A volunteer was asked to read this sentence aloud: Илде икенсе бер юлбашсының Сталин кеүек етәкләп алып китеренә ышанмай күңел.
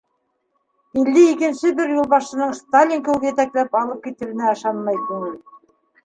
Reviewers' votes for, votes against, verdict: 2, 0, accepted